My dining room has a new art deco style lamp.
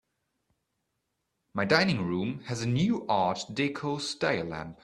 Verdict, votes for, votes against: accepted, 2, 1